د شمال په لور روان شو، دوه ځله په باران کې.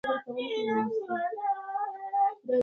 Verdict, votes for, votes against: rejected, 0, 2